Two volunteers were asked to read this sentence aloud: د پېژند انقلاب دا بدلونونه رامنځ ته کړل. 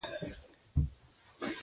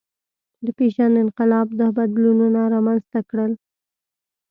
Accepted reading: second